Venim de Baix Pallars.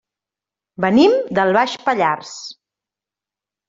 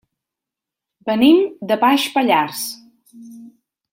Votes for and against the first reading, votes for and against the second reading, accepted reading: 1, 2, 2, 0, second